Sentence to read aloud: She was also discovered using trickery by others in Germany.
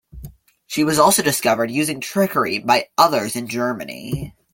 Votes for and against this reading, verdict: 2, 0, accepted